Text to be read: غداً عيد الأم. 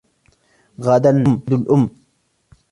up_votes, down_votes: 1, 2